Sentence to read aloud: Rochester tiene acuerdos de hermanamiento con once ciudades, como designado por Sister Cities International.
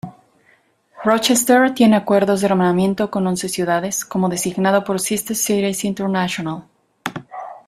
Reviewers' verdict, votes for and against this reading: rejected, 1, 2